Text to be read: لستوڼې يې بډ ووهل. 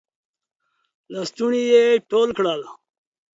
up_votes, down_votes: 1, 2